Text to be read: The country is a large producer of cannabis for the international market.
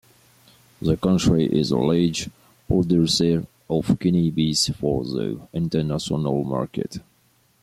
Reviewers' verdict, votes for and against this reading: rejected, 1, 2